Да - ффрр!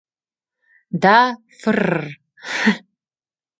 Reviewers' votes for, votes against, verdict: 1, 2, rejected